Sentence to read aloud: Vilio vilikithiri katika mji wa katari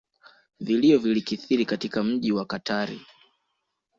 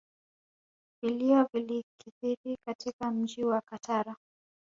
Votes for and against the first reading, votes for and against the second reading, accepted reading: 2, 0, 0, 2, first